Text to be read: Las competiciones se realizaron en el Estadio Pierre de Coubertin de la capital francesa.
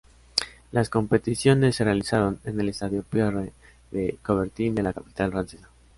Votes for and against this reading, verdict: 2, 0, accepted